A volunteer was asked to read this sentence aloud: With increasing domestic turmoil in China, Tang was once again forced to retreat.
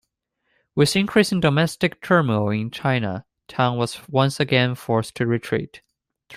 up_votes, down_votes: 0, 2